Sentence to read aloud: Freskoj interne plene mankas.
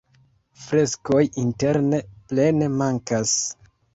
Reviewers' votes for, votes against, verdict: 2, 1, accepted